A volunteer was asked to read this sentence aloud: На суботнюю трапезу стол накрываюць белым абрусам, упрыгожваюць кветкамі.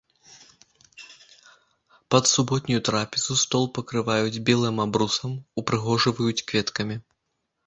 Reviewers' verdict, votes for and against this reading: rejected, 1, 3